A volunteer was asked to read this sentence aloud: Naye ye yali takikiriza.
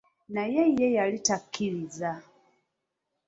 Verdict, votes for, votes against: accepted, 2, 0